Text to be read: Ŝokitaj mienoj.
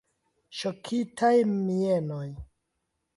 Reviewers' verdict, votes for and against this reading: accepted, 2, 0